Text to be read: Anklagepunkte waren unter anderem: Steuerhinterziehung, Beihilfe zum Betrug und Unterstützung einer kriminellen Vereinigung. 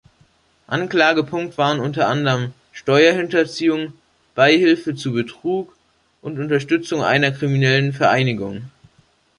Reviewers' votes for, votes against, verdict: 0, 2, rejected